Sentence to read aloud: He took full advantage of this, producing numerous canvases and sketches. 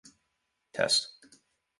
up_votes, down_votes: 0, 2